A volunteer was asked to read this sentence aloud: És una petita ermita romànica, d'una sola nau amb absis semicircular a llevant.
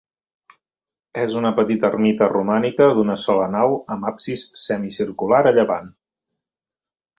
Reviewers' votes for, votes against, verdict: 3, 0, accepted